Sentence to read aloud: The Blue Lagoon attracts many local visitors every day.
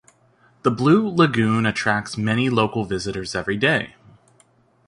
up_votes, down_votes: 2, 0